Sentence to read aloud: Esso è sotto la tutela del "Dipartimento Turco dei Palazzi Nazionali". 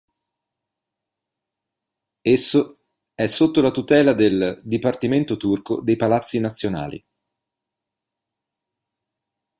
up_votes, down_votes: 2, 0